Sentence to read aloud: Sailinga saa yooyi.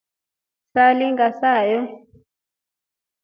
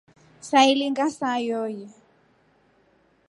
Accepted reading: second